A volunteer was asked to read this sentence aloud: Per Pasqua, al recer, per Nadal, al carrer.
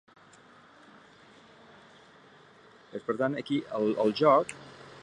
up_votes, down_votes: 0, 2